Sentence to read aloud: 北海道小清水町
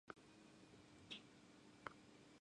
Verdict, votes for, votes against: rejected, 0, 2